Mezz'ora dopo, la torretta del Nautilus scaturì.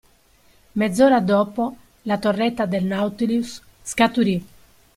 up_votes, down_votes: 2, 0